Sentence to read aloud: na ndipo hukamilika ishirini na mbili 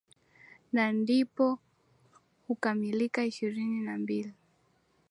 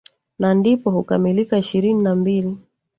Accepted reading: first